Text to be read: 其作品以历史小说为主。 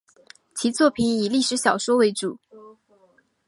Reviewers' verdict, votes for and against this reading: rejected, 1, 2